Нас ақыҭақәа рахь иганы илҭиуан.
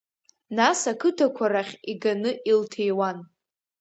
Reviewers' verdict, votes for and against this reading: accepted, 2, 0